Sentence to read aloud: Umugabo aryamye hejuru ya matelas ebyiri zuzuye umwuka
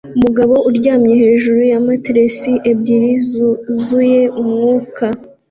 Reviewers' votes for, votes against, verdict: 2, 0, accepted